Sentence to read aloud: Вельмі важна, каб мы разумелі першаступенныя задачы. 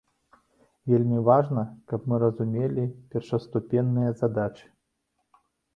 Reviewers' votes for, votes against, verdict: 2, 0, accepted